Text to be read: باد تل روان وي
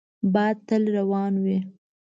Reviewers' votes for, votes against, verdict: 2, 0, accepted